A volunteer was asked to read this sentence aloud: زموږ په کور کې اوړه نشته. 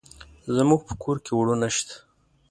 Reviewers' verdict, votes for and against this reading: rejected, 1, 2